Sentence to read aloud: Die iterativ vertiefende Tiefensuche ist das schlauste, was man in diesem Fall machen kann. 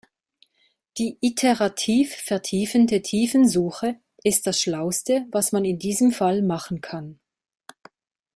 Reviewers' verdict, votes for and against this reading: accepted, 2, 0